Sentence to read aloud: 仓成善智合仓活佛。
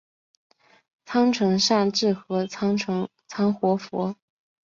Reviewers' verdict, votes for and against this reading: rejected, 1, 2